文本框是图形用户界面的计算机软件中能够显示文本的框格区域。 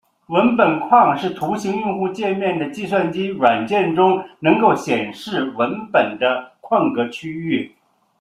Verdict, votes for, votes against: rejected, 1, 2